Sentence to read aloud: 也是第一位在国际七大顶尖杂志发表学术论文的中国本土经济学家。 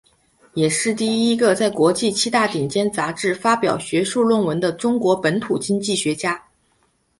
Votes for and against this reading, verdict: 0, 2, rejected